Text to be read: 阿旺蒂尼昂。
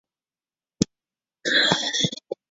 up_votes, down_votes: 3, 5